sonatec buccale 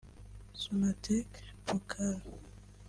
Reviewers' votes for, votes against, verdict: 2, 3, rejected